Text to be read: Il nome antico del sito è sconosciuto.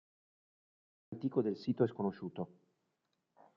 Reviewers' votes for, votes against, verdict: 0, 2, rejected